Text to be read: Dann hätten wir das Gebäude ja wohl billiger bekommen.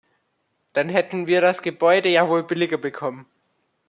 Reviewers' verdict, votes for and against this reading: accepted, 2, 0